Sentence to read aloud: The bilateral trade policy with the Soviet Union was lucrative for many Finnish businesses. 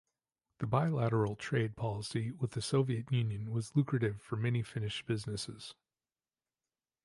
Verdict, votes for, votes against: accepted, 2, 0